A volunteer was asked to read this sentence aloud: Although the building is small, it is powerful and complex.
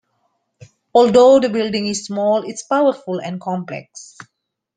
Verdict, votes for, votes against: accepted, 2, 0